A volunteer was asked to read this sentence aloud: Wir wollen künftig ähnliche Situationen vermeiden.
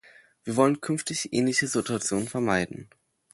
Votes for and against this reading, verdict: 2, 0, accepted